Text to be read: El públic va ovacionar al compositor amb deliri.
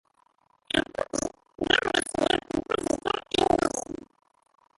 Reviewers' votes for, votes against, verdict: 0, 2, rejected